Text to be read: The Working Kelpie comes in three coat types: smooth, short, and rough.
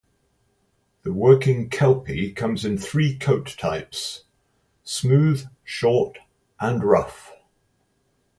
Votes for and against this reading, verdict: 4, 0, accepted